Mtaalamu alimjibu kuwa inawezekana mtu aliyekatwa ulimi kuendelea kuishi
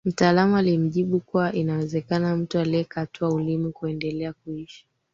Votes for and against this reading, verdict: 3, 2, accepted